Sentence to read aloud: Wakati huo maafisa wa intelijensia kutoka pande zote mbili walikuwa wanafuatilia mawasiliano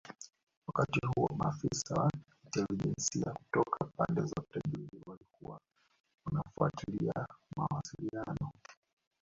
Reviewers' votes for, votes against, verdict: 2, 1, accepted